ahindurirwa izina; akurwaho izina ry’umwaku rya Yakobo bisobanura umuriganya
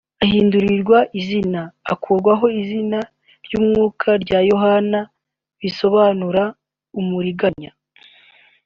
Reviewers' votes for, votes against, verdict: 1, 2, rejected